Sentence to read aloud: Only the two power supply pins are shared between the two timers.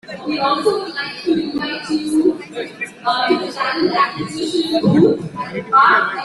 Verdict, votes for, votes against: rejected, 0, 2